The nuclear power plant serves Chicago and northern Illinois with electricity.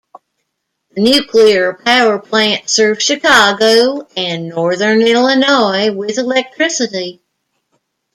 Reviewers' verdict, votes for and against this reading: rejected, 1, 2